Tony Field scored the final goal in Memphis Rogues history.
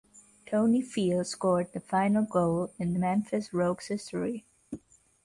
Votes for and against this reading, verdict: 3, 0, accepted